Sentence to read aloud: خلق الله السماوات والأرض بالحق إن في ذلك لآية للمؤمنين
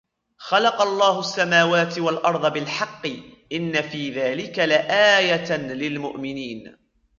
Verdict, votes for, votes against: accepted, 2, 0